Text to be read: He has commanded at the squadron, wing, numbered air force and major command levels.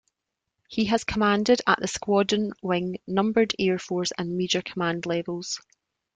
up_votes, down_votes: 2, 0